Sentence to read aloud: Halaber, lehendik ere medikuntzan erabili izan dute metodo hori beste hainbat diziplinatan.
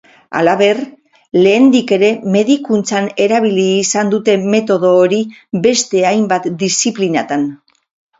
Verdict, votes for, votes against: accepted, 4, 0